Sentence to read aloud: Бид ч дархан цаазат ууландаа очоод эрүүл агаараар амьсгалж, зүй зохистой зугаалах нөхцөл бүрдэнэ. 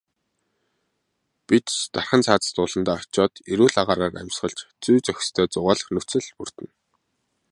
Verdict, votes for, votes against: accepted, 2, 0